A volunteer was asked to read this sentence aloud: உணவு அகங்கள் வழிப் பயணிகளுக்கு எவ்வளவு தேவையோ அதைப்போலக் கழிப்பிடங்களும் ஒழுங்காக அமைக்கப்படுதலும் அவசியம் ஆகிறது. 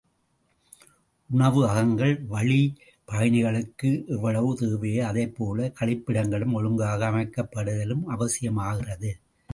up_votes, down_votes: 2, 0